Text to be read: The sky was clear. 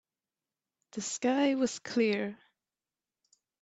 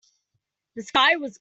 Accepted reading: first